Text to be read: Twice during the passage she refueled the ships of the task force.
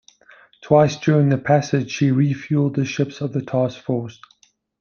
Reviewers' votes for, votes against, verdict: 2, 0, accepted